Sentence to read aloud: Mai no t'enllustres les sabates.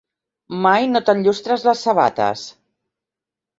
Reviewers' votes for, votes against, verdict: 2, 0, accepted